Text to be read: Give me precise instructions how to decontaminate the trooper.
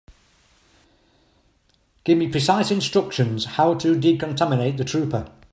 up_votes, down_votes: 2, 0